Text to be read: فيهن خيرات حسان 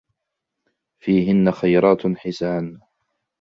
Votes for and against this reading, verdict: 2, 0, accepted